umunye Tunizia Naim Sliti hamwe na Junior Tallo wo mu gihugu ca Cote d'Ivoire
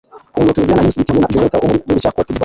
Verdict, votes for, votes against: rejected, 0, 2